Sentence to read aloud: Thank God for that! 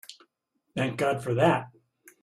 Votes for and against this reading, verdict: 2, 0, accepted